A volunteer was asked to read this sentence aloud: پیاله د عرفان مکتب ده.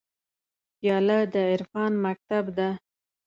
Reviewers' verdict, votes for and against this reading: accepted, 2, 0